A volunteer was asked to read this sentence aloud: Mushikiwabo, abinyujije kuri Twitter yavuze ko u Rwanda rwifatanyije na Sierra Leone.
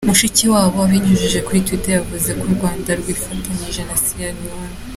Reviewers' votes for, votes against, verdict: 3, 0, accepted